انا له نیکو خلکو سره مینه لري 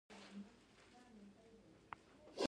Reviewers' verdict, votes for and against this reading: rejected, 0, 2